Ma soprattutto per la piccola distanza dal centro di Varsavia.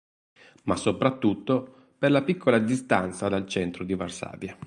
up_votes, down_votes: 2, 2